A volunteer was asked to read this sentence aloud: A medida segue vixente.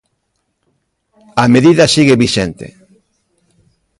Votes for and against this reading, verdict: 0, 3, rejected